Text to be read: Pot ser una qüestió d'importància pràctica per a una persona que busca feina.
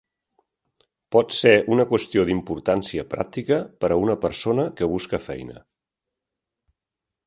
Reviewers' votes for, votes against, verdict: 1, 2, rejected